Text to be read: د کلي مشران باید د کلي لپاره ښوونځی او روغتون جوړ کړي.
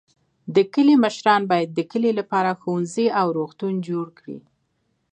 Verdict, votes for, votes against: rejected, 1, 2